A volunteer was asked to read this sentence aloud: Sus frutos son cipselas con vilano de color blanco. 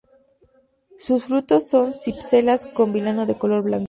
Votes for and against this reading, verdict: 0, 2, rejected